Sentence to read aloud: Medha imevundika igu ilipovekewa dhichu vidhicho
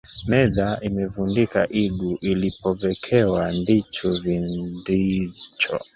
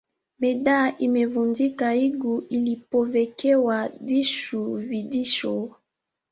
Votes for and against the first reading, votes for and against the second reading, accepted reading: 0, 2, 2, 0, second